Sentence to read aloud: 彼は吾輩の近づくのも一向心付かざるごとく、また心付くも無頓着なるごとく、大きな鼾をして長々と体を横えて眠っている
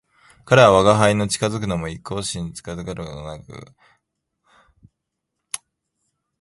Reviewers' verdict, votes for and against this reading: rejected, 1, 3